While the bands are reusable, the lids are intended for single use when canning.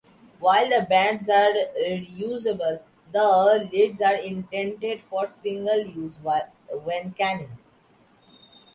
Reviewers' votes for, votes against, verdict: 0, 2, rejected